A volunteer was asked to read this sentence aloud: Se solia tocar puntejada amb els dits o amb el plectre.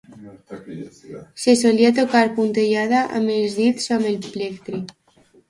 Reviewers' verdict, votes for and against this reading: rejected, 0, 2